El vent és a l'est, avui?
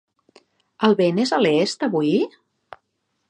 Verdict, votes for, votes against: accepted, 3, 0